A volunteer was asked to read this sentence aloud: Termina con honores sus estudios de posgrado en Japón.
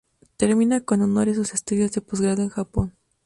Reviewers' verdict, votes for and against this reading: rejected, 0, 2